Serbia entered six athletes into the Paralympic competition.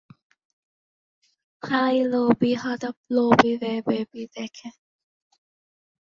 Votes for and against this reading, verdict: 0, 2, rejected